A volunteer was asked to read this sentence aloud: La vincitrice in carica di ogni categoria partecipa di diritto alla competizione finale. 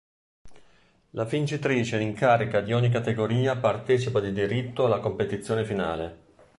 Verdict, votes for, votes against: accepted, 2, 0